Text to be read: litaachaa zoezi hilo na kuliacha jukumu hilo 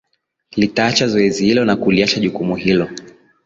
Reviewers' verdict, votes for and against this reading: rejected, 1, 2